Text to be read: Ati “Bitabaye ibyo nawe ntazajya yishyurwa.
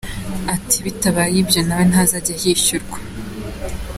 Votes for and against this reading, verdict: 2, 1, accepted